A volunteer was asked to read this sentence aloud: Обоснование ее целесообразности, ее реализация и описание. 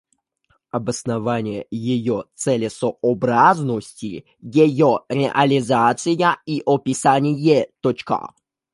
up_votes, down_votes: 0, 2